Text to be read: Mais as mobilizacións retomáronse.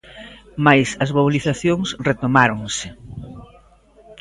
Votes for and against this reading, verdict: 0, 2, rejected